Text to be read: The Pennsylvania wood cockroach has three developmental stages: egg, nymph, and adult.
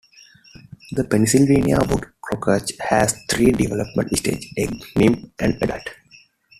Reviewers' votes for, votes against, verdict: 0, 2, rejected